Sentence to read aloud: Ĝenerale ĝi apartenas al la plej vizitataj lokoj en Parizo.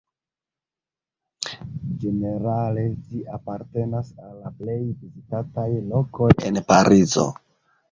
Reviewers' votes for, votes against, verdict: 2, 0, accepted